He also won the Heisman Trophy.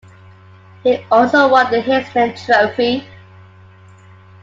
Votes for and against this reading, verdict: 2, 0, accepted